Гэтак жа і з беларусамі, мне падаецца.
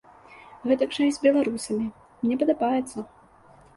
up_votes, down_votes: 1, 2